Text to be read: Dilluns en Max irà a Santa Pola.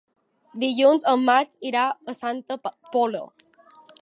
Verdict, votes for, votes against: rejected, 1, 2